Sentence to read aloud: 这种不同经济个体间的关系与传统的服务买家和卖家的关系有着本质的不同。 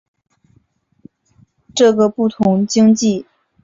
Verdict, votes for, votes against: rejected, 0, 2